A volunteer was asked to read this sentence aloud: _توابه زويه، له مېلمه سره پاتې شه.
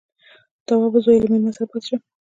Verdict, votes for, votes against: accepted, 2, 0